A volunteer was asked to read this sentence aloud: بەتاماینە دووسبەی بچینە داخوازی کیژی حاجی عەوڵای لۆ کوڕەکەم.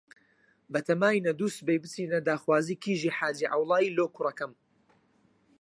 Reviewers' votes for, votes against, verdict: 0, 4, rejected